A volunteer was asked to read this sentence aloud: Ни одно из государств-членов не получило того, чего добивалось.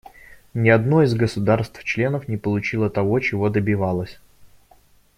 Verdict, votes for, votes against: accepted, 2, 1